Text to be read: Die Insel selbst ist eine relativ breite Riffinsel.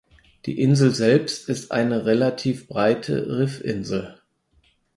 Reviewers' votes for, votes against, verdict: 4, 0, accepted